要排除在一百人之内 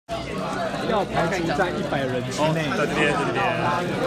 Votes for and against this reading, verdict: 1, 2, rejected